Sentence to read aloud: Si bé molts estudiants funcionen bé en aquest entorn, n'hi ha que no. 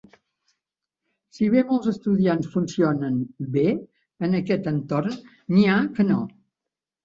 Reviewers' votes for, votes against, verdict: 3, 0, accepted